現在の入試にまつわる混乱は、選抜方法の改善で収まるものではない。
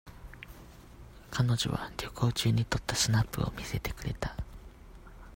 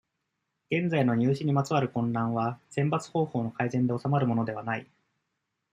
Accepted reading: second